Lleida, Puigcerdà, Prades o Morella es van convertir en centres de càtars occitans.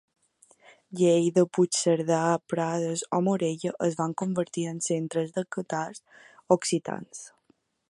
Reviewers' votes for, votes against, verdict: 1, 2, rejected